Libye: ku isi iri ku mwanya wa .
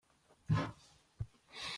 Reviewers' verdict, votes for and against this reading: rejected, 0, 2